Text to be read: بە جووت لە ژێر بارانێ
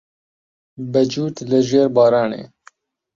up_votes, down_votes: 8, 2